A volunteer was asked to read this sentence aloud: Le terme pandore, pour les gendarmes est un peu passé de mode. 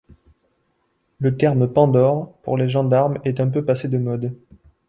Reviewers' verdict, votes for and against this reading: accepted, 2, 0